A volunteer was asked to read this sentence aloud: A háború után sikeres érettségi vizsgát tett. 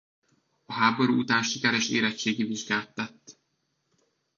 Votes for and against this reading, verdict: 1, 2, rejected